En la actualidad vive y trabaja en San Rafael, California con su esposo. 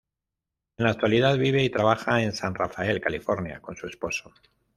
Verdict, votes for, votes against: accepted, 2, 0